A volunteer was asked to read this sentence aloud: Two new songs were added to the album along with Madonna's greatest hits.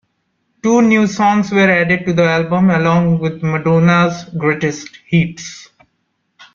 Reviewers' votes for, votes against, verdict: 0, 2, rejected